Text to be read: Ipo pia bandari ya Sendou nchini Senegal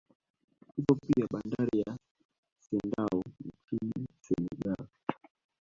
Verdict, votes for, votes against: rejected, 1, 2